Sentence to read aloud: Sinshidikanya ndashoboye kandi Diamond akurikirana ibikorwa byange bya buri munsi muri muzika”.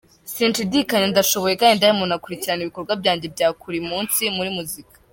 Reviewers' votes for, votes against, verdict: 0, 3, rejected